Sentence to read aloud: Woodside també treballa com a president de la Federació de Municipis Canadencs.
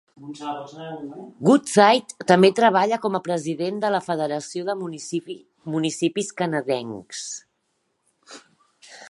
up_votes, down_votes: 0, 2